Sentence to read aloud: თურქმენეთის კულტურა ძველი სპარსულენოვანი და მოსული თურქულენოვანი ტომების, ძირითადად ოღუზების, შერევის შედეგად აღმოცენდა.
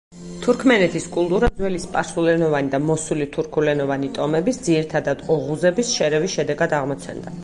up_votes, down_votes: 4, 0